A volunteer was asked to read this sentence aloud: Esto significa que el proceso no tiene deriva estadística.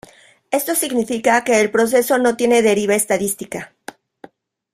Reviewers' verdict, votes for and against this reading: accepted, 2, 0